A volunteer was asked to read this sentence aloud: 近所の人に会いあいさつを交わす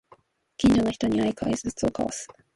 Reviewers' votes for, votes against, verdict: 0, 2, rejected